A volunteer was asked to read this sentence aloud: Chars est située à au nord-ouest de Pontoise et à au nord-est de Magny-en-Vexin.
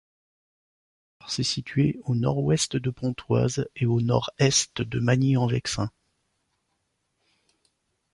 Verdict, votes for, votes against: rejected, 1, 2